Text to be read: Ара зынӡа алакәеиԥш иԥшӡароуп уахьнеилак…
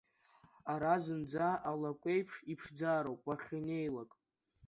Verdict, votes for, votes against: accepted, 2, 1